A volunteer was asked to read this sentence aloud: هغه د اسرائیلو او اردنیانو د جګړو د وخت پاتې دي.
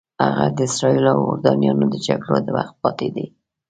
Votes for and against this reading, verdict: 2, 0, accepted